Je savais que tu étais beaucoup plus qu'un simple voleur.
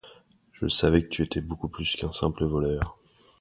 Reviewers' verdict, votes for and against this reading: accepted, 2, 0